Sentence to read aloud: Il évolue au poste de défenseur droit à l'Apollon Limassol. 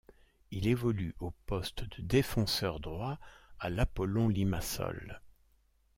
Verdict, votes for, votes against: accepted, 2, 0